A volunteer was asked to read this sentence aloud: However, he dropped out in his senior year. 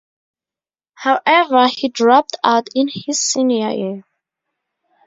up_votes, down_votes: 2, 0